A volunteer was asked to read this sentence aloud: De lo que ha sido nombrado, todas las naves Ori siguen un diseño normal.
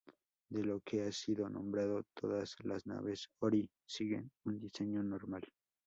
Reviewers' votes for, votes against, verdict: 2, 0, accepted